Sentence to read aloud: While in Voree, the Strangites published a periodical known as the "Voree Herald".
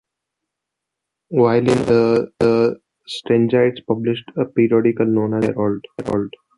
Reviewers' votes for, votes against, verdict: 0, 2, rejected